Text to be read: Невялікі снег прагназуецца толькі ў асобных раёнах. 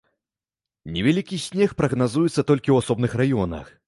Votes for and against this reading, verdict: 2, 0, accepted